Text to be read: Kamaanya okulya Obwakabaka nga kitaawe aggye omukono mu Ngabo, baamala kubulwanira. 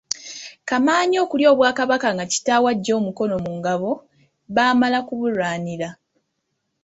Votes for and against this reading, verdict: 2, 0, accepted